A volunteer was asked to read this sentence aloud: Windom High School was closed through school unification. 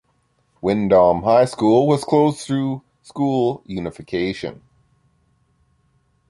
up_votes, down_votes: 1, 2